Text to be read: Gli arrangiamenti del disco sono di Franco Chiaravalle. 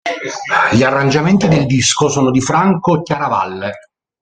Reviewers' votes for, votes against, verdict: 0, 2, rejected